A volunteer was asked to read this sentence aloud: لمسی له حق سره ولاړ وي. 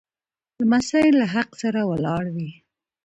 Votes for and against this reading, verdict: 2, 0, accepted